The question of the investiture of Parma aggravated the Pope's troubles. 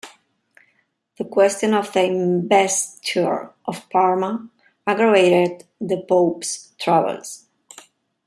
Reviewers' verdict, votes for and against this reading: rejected, 0, 2